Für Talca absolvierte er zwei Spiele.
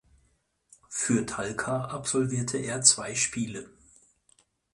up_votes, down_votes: 4, 0